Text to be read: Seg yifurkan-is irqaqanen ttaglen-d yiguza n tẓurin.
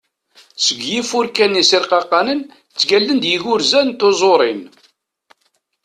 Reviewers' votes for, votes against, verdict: 0, 2, rejected